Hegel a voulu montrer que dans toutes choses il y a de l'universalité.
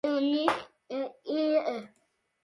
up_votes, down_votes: 0, 2